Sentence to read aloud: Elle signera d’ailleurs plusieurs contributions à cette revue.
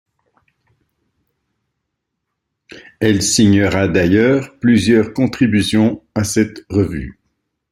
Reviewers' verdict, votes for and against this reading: accepted, 2, 1